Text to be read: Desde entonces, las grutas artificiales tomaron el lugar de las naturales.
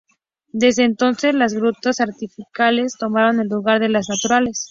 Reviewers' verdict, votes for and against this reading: rejected, 0, 2